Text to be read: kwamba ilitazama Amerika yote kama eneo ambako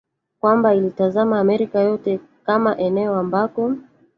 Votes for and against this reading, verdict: 1, 2, rejected